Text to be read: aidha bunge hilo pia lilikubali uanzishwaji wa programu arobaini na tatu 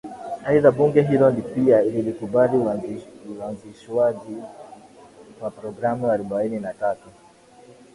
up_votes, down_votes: 8, 4